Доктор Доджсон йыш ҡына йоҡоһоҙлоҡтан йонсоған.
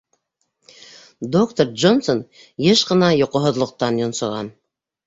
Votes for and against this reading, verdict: 1, 2, rejected